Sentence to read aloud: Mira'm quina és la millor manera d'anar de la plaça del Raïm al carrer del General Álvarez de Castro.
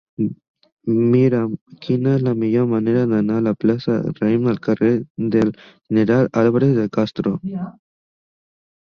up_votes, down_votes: 0, 2